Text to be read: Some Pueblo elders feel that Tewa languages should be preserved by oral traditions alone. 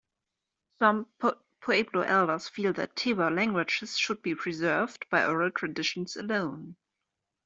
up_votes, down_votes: 2, 1